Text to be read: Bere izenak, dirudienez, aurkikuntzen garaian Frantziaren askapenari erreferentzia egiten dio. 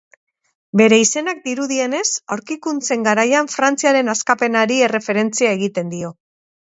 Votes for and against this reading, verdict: 4, 0, accepted